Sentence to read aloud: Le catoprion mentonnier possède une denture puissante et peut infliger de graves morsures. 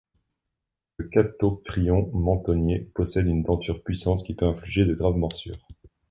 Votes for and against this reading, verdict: 0, 2, rejected